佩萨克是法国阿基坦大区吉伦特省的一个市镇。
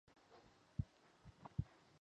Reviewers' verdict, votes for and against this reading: rejected, 0, 2